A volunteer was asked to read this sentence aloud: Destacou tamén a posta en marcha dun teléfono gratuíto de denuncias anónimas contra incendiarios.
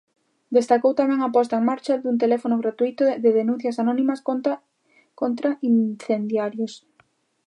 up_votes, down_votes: 0, 2